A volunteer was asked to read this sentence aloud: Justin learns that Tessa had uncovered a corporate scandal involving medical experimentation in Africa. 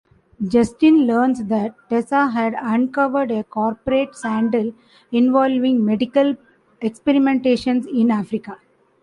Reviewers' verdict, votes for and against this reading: rejected, 1, 2